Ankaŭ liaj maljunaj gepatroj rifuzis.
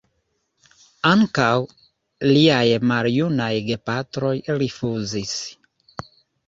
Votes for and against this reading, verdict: 2, 0, accepted